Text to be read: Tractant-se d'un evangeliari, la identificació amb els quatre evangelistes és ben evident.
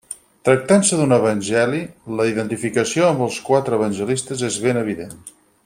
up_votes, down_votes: 2, 4